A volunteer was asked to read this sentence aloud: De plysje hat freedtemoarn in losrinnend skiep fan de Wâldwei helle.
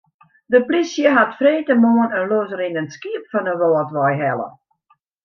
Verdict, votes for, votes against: accepted, 2, 0